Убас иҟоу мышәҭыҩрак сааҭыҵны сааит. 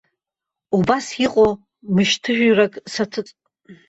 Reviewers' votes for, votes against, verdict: 1, 3, rejected